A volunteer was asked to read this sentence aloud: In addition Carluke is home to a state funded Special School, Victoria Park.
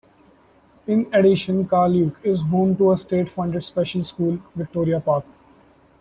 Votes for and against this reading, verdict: 2, 0, accepted